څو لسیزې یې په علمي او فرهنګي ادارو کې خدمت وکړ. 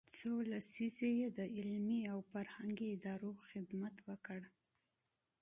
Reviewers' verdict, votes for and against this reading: rejected, 1, 2